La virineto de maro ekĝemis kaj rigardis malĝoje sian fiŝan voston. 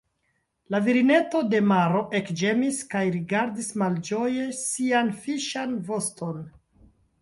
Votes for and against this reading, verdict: 1, 2, rejected